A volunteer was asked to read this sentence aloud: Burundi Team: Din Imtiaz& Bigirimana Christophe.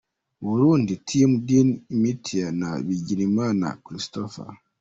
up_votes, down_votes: 2, 1